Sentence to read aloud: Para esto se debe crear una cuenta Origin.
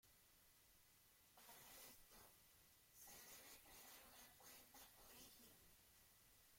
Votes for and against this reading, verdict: 0, 2, rejected